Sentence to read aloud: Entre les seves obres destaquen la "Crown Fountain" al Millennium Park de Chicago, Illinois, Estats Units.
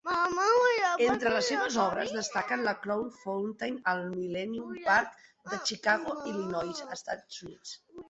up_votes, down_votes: 0, 2